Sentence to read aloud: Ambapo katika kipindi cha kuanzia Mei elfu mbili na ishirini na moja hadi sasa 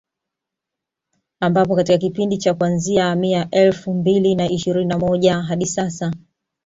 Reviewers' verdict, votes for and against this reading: accepted, 2, 1